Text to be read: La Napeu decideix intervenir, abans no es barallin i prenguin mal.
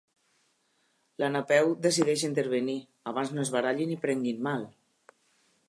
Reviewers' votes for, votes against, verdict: 3, 0, accepted